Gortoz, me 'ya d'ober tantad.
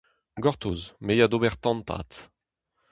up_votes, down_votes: 2, 0